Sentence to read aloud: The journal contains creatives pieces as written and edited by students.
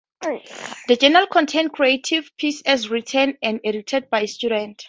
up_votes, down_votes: 2, 0